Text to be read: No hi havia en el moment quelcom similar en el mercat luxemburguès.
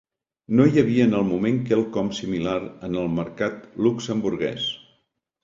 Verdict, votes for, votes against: accepted, 2, 0